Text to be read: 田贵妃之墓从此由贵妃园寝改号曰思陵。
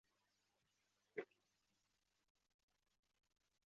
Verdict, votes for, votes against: rejected, 1, 3